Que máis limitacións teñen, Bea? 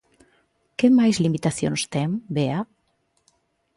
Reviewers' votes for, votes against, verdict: 0, 2, rejected